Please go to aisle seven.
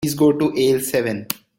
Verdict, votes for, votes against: rejected, 1, 2